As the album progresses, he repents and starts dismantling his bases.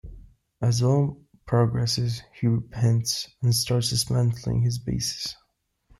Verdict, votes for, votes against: rejected, 0, 2